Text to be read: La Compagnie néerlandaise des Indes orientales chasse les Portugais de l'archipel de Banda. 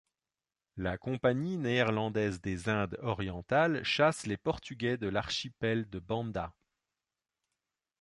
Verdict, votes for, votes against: accepted, 2, 1